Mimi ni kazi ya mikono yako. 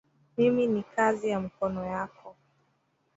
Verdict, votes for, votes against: rejected, 0, 2